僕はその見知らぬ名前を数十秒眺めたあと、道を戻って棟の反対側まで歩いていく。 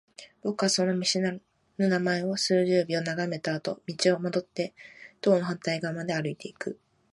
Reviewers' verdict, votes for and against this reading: accepted, 4, 0